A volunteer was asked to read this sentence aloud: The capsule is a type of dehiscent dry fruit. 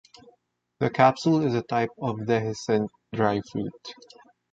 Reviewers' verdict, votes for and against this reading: accepted, 2, 1